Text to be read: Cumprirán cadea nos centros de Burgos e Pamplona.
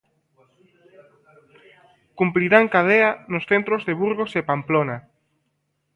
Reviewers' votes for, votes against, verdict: 2, 0, accepted